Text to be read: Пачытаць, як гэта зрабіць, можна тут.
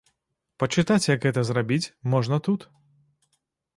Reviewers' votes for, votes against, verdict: 1, 2, rejected